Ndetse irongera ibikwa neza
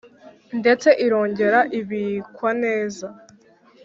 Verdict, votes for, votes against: accepted, 2, 0